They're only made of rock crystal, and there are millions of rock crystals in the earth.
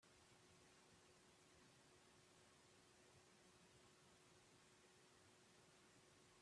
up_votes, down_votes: 0, 2